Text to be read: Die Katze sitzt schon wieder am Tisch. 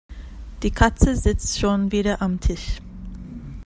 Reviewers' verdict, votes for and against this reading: accepted, 2, 0